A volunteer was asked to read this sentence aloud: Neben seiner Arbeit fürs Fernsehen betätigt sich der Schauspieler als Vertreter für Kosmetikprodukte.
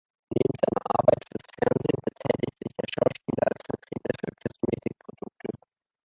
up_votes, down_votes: 2, 0